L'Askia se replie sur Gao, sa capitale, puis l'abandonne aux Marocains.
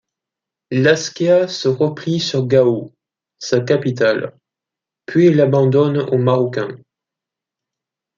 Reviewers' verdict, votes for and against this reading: accepted, 2, 0